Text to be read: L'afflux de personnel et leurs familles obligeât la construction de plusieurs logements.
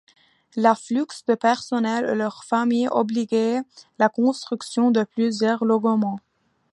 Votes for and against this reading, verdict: 2, 1, accepted